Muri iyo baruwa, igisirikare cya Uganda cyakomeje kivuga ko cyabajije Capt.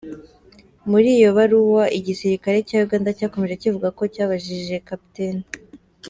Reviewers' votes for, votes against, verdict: 2, 0, accepted